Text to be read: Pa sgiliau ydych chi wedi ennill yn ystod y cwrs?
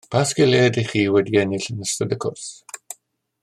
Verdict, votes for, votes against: accepted, 2, 0